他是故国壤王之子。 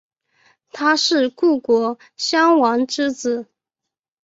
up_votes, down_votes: 1, 2